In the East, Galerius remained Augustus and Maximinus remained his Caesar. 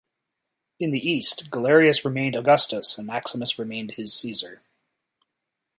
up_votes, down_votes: 2, 0